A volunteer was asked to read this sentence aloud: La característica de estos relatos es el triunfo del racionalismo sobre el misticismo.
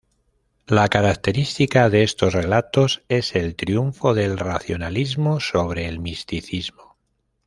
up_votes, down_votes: 2, 0